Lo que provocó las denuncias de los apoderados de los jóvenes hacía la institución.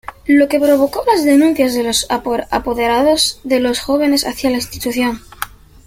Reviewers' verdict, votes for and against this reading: accepted, 2, 1